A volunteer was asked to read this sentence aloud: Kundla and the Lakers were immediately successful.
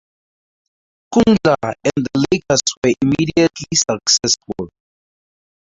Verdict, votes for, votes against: accepted, 2, 0